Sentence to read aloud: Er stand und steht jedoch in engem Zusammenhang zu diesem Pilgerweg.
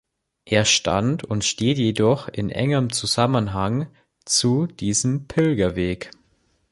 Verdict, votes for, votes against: accepted, 2, 0